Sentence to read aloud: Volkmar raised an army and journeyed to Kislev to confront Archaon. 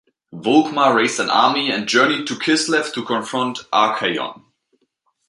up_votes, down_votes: 2, 0